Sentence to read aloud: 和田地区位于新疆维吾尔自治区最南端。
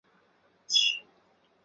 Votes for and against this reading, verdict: 0, 4, rejected